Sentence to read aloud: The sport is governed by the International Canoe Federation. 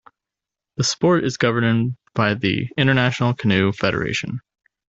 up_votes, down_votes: 1, 2